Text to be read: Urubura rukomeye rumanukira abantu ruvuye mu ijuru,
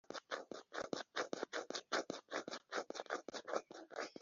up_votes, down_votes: 0, 3